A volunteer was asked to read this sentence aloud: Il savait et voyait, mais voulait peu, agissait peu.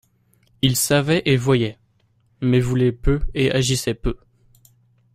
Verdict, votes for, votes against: rejected, 0, 2